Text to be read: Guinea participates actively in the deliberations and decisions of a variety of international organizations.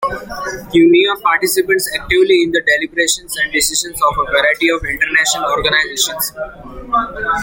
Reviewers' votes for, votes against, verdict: 0, 2, rejected